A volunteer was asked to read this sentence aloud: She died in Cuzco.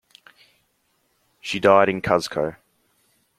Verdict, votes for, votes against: accepted, 2, 0